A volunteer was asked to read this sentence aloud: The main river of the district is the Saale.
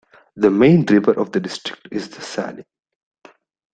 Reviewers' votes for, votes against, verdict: 2, 1, accepted